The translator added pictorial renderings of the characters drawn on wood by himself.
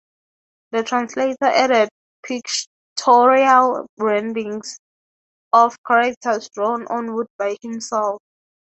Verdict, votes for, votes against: rejected, 3, 3